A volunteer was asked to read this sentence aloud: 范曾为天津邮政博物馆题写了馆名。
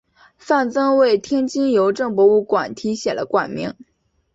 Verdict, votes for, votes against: accepted, 2, 0